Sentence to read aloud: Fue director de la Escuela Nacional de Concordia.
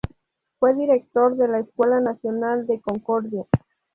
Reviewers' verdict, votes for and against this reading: accepted, 2, 0